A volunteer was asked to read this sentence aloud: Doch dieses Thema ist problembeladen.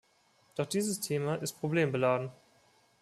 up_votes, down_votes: 2, 0